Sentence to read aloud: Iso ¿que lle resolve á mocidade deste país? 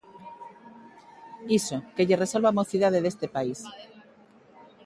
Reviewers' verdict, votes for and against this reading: rejected, 0, 3